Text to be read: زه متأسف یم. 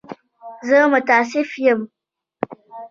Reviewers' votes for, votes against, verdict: 2, 0, accepted